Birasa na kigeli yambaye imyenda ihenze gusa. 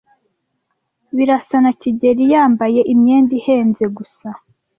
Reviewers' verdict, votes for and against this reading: accepted, 2, 0